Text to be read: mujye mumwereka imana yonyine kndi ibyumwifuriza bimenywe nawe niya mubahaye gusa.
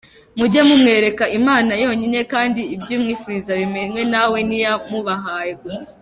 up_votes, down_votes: 2, 1